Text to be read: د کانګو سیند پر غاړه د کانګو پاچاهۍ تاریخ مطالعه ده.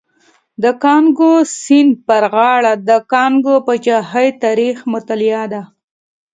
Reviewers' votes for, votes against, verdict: 2, 0, accepted